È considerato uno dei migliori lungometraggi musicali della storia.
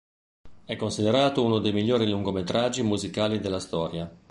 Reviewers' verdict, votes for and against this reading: accepted, 2, 0